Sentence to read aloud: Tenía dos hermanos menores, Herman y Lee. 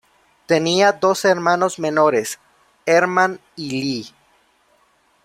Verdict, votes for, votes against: rejected, 0, 2